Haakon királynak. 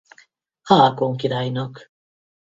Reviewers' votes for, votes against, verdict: 2, 2, rejected